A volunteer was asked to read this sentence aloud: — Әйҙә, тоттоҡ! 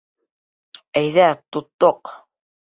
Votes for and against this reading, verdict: 2, 0, accepted